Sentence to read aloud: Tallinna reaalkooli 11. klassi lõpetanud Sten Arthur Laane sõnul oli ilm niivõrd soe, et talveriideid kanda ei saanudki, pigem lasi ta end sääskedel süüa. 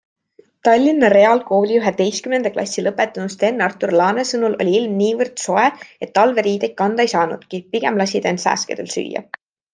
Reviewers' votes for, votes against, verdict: 0, 2, rejected